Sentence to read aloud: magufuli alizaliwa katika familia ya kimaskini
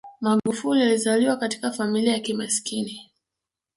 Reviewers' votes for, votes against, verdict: 0, 2, rejected